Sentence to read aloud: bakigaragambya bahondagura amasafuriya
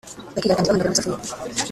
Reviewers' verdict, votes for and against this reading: rejected, 1, 2